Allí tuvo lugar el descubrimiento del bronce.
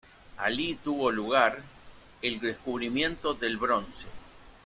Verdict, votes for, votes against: rejected, 0, 2